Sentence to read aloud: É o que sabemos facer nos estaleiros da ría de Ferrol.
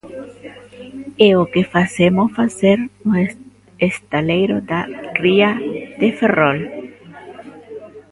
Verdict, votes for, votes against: rejected, 0, 2